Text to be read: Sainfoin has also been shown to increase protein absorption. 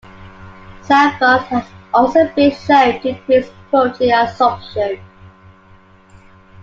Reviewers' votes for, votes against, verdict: 2, 1, accepted